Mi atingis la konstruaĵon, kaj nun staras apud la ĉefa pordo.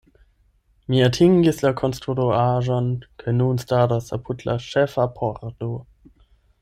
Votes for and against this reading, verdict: 0, 8, rejected